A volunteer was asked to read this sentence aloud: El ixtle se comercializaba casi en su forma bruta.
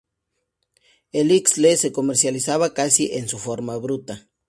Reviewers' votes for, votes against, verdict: 0, 2, rejected